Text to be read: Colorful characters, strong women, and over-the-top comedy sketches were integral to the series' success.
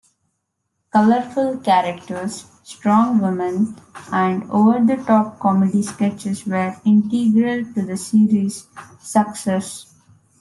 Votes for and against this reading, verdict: 1, 2, rejected